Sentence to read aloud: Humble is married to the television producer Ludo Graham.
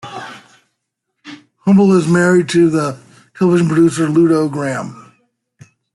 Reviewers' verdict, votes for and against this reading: accepted, 2, 0